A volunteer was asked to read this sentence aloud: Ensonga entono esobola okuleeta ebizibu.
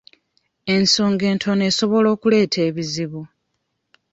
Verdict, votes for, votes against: accepted, 2, 0